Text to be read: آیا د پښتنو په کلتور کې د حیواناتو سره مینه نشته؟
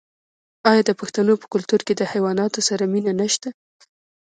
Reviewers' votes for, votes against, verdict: 2, 0, accepted